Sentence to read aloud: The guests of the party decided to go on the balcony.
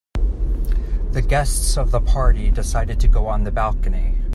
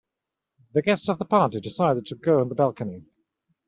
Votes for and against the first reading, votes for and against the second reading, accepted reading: 2, 1, 1, 2, first